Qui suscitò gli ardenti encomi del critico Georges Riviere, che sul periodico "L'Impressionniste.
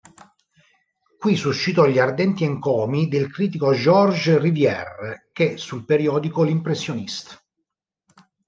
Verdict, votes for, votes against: accepted, 2, 0